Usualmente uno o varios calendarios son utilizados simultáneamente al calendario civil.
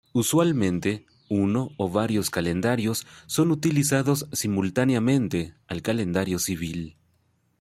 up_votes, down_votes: 2, 0